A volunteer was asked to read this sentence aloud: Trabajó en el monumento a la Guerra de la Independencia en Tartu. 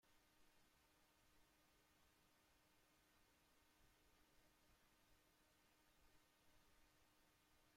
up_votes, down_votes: 0, 2